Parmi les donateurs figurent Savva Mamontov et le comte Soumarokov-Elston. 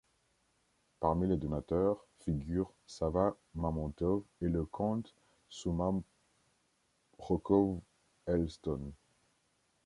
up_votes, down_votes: 2, 1